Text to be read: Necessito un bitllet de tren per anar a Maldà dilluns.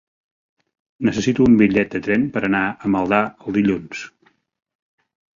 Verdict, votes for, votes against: rejected, 0, 2